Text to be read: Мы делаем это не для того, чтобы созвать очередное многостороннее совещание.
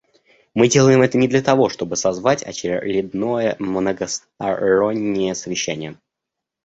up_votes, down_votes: 1, 2